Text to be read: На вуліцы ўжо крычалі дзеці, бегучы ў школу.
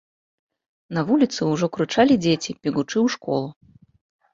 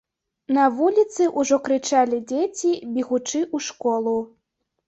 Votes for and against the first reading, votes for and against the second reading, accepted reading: 1, 2, 2, 0, second